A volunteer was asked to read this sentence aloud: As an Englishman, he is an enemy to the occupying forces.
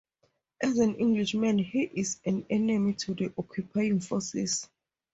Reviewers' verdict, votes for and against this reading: accepted, 4, 0